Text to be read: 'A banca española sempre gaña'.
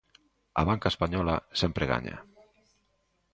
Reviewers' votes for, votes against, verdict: 2, 1, accepted